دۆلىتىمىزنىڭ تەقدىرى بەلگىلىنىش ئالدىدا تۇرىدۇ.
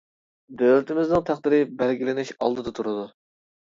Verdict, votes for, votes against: accepted, 3, 0